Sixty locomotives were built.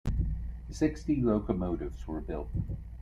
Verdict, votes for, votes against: accepted, 2, 0